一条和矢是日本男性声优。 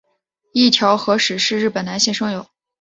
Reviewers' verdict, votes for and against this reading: accepted, 2, 0